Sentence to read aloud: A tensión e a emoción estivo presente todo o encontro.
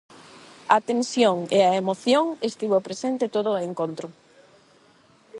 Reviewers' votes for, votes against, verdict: 4, 4, rejected